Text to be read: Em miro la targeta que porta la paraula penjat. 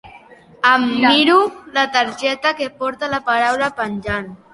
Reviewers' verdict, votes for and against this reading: rejected, 0, 3